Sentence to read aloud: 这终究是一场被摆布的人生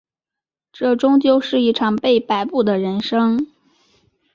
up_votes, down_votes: 2, 0